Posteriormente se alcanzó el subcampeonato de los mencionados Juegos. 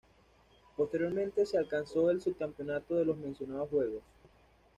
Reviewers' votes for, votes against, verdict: 1, 2, rejected